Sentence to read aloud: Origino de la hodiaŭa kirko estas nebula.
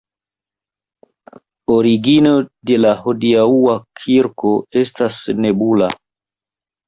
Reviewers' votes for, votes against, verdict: 1, 2, rejected